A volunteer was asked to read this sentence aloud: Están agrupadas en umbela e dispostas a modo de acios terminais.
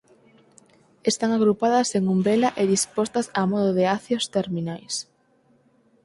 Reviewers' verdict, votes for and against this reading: accepted, 4, 2